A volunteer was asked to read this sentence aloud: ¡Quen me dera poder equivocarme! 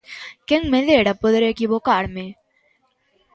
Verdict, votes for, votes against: accepted, 2, 0